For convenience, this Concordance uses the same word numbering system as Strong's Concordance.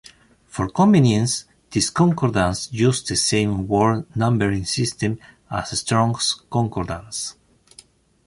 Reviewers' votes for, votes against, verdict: 1, 2, rejected